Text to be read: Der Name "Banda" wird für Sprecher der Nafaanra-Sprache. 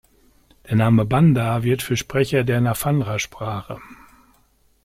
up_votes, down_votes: 0, 2